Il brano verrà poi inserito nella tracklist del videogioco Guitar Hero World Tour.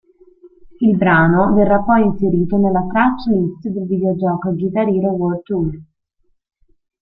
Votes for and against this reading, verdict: 1, 2, rejected